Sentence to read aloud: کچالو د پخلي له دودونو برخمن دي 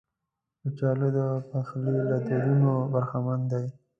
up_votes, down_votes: 2, 0